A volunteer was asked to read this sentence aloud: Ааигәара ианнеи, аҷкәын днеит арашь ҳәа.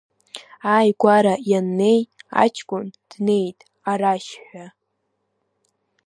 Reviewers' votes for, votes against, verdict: 1, 2, rejected